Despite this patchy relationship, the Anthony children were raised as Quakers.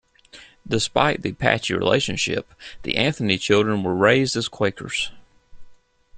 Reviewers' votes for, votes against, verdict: 0, 2, rejected